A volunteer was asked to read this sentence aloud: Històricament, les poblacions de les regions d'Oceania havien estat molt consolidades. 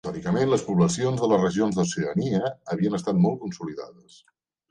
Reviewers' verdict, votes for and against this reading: rejected, 2, 3